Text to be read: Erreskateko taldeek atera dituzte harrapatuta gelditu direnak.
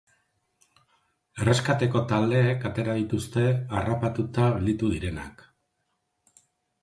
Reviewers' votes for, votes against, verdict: 6, 0, accepted